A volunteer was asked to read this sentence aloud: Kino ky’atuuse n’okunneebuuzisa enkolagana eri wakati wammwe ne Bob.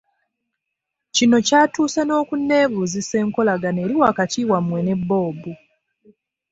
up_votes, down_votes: 3, 0